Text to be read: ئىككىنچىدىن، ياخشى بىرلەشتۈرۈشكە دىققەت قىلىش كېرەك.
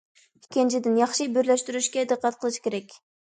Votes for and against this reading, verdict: 2, 0, accepted